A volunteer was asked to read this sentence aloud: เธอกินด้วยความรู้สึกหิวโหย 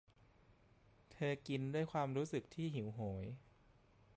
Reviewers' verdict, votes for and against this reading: accepted, 2, 0